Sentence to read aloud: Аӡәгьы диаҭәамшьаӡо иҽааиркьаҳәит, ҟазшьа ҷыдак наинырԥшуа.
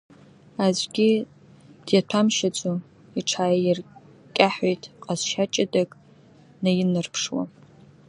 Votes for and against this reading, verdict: 0, 2, rejected